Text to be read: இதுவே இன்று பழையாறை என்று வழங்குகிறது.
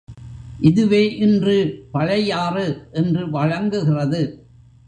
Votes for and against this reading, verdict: 1, 2, rejected